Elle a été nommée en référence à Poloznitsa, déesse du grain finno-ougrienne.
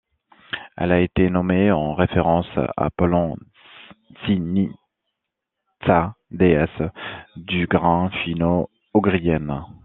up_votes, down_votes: 1, 2